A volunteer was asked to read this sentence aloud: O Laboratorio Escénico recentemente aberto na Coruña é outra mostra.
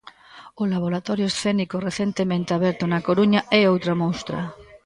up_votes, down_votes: 1, 2